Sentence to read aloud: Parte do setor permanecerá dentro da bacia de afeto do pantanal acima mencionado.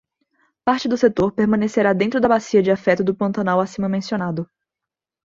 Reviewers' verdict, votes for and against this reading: accepted, 2, 0